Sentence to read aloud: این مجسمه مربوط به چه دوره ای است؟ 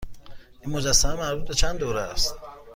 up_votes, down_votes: 1, 2